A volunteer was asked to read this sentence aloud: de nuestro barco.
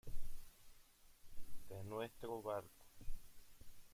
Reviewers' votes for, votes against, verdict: 0, 2, rejected